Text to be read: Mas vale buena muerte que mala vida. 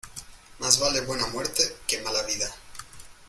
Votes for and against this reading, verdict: 2, 0, accepted